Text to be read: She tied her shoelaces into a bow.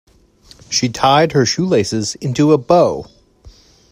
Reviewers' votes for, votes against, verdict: 2, 0, accepted